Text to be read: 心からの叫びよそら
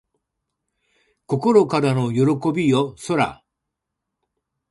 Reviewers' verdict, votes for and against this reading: rejected, 1, 2